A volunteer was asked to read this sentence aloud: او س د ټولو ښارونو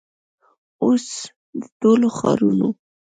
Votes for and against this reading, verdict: 2, 0, accepted